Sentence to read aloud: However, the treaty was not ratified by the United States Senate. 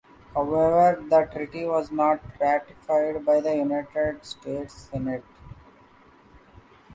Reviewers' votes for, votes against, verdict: 2, 0, accepted